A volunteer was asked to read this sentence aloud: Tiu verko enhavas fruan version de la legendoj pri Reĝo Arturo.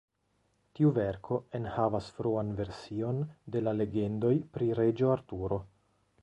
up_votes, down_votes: 2, 1